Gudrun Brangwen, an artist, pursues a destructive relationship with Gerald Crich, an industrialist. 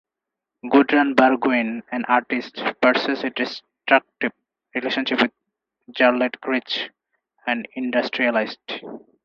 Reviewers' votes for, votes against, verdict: 0, 2, rejected